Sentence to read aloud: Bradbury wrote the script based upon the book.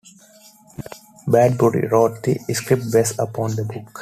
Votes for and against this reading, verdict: 2, 1, accepted